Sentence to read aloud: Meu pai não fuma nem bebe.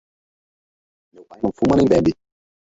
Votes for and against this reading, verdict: 0, 4, rejected